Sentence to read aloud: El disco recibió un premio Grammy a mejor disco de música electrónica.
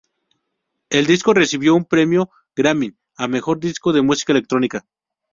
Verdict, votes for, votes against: accepted, 2, 0